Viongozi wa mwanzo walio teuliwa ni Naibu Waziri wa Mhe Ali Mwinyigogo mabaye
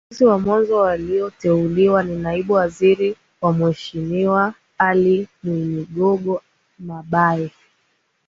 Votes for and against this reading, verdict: 7, 5, accepted